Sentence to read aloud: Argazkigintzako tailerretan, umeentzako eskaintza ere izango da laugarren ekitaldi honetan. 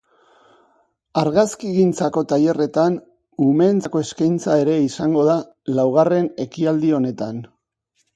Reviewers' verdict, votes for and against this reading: rejected, 1, 2